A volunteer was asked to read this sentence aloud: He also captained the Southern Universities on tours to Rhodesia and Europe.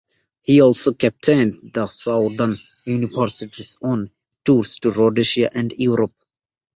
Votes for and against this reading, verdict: 2, 1, accepted